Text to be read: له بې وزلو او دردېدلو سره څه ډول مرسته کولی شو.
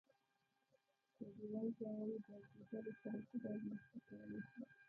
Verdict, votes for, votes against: rejected, 0, 3